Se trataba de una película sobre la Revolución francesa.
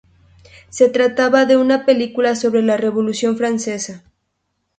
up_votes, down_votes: 0, 2